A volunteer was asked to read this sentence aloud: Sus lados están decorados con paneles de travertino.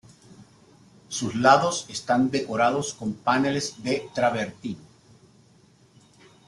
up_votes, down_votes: 1, 2